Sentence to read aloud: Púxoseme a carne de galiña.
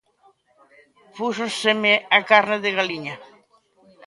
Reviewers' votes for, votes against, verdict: 2, 0, accepted